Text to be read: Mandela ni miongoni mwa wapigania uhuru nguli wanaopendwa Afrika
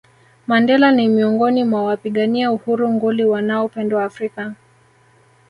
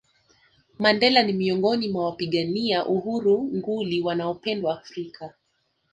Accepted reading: second